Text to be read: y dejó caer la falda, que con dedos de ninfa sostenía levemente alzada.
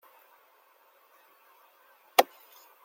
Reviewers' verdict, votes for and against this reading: rejected, 0, 2